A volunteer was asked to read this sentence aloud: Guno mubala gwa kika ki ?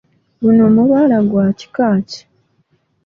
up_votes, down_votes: 1, 2